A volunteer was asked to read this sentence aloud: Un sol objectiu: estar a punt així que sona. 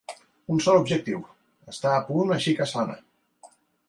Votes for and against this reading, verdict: 2, 1, accepted